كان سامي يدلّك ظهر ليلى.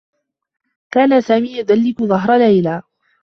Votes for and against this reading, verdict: 2, 0, accepted